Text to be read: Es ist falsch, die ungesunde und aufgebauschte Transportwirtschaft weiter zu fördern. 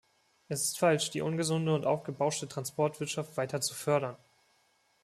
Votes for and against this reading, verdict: 2, 0, accepted